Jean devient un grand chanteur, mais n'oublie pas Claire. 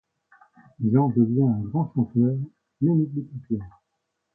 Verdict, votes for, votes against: rejected, 0, 2